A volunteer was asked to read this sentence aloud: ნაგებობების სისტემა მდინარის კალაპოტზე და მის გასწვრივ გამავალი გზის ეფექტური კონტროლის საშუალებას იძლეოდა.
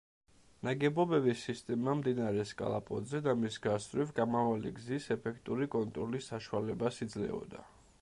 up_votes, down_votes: 0, 2